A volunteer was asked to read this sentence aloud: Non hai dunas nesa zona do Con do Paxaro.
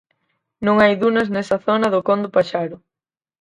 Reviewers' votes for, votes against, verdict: 4, 0, accepted